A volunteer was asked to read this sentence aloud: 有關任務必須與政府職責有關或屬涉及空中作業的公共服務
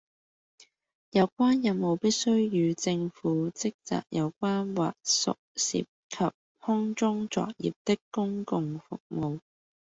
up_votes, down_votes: 2, 0